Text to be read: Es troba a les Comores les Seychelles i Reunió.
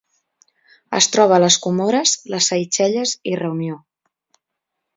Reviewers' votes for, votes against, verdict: 3, 0, accepted